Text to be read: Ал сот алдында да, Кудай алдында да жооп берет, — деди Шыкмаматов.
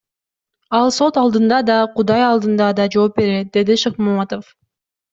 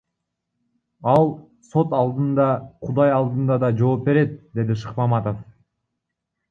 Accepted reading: first